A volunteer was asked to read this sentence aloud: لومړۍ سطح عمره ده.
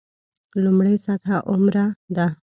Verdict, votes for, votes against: accepted, 2, 0